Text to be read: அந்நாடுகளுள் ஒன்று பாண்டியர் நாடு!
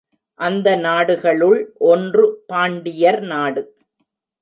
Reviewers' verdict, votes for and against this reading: rejected, 1, 2